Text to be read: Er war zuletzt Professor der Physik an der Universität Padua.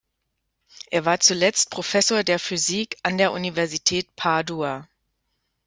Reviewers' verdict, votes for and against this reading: accepted, 2, 0